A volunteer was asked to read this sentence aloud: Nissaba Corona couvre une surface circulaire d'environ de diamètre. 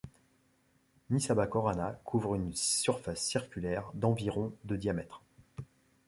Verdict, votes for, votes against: rejected, 0, 2